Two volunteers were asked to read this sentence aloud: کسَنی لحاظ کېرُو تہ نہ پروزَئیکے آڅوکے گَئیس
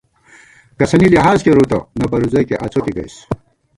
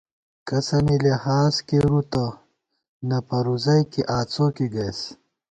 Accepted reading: second